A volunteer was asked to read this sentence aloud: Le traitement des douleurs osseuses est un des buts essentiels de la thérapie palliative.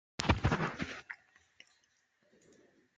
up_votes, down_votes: 0, 2